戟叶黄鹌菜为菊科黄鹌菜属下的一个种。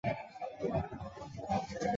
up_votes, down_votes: 0, 2